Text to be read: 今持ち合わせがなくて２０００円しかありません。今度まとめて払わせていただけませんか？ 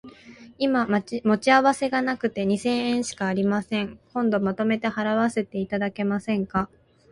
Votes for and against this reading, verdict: 0, 2, rejected